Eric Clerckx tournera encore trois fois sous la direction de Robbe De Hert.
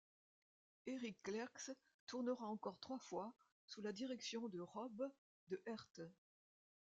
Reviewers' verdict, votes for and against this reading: rejected, 1, 2